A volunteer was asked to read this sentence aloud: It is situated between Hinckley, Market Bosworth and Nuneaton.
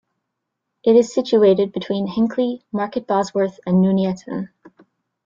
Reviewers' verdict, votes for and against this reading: accepted, 2, 1